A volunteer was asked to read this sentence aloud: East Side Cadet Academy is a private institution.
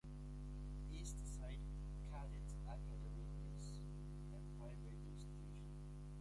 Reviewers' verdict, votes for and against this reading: rejected, 0, 2